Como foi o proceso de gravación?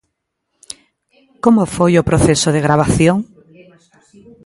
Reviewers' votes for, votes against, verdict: 0, 2, rejected